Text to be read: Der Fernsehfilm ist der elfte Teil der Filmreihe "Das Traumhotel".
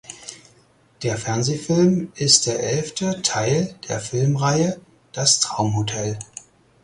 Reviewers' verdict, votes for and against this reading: accepted, 4, 0